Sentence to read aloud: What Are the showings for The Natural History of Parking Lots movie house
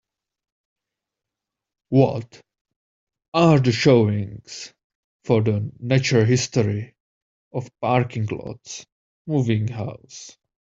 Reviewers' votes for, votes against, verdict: 2, 1, accepted